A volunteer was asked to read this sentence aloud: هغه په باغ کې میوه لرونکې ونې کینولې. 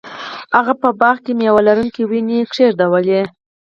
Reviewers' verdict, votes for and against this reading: rejected, 2, 4